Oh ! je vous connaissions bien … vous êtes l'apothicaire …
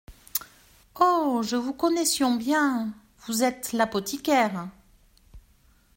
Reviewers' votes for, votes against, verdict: 2, 0, accepted